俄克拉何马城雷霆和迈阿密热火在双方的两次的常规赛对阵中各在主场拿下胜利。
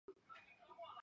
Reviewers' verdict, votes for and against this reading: accepted, 2, 0